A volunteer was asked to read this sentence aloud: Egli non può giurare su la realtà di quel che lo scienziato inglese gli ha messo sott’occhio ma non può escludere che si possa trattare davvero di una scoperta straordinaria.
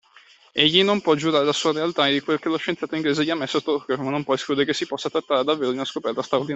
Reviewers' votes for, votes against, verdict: 0, 2, rejected